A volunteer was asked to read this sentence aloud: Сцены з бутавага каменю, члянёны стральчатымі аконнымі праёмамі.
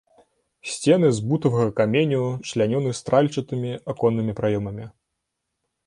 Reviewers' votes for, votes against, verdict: 0, 3, rejected